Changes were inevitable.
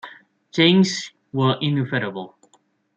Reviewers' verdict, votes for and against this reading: rejected, 0, 2